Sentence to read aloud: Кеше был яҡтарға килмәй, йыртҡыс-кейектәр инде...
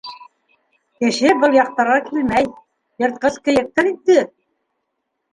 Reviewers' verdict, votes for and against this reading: rejected, 0, 2